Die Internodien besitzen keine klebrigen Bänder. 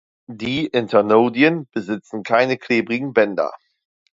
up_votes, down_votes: 2, 0